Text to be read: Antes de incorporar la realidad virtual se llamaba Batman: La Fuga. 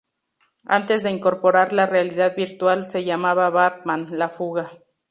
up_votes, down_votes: 2, 0